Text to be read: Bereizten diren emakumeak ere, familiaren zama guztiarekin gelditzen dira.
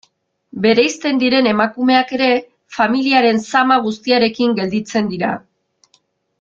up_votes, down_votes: 2, 0